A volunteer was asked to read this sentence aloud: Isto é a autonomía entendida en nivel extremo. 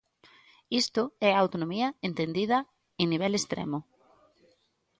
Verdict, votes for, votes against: accepted, 2, 1